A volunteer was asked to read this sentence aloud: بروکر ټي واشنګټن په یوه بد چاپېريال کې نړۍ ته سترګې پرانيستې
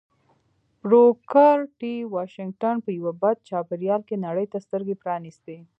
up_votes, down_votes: 2, 0